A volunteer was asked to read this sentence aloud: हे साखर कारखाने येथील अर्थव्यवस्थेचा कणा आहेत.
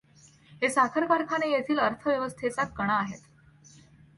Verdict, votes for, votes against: accepted, 2, 0